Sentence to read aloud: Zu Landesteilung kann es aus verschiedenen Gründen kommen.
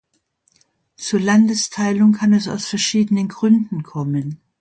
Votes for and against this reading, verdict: 2, 0, accepted